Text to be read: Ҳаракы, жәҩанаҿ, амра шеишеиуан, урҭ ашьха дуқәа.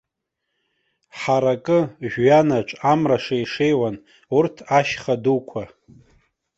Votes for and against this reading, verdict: 2, 0, accepted